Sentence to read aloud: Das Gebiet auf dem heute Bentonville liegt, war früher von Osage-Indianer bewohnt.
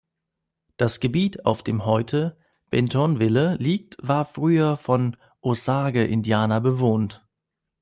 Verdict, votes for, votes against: rejected, 1, 2